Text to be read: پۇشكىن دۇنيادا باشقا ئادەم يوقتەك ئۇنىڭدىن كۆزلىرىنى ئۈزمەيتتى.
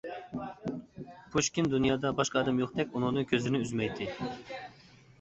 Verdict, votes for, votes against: accepted, 2, 1